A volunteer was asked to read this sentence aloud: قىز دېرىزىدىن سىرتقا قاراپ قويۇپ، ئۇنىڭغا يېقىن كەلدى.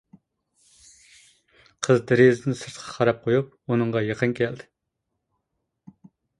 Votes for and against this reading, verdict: 2, 0, accepted